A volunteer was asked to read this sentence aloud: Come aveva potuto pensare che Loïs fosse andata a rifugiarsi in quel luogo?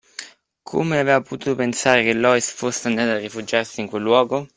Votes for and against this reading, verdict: 2, 0, accepted